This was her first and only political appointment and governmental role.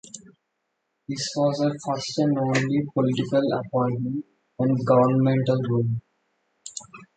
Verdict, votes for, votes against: accepted, 2, 0